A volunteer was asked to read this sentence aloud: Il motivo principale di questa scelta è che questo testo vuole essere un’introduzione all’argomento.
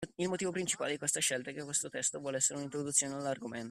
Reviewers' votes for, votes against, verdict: 2, 0, accepted